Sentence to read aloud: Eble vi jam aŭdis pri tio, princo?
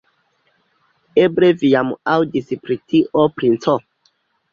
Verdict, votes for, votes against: accepted, 2, 0